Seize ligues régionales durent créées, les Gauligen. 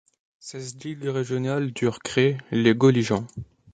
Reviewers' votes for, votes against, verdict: 2, 0, accepted